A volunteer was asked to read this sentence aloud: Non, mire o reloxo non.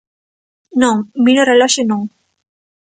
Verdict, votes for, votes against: accepted, 2, 0